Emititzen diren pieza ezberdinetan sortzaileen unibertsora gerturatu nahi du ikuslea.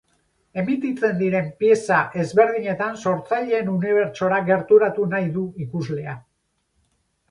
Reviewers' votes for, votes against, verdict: 4, 0, accepted